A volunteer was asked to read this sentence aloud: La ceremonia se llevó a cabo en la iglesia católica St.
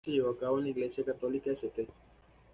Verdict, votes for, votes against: rejected, 1, 2